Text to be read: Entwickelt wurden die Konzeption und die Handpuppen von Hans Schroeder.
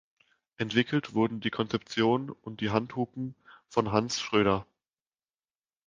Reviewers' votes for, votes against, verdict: 0, 2, rejected